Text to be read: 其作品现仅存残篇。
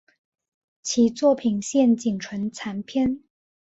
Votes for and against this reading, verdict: 5, 0, accepted